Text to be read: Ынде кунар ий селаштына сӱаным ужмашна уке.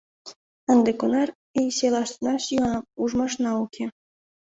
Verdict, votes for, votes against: accepted, 2, 0